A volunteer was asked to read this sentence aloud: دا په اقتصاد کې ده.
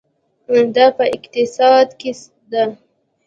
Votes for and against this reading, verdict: 2, 0, accepted